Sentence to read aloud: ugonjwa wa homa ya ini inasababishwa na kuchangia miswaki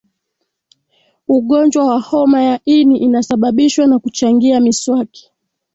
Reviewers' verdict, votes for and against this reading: accepted, 2, 0